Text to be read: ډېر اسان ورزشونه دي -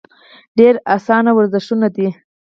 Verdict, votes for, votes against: accepted, 4, 0